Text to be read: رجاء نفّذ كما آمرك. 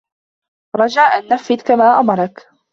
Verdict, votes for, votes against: rejected, 1, 2